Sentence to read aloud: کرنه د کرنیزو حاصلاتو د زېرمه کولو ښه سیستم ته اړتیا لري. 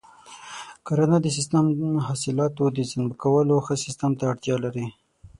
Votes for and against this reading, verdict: 0, 6, rejected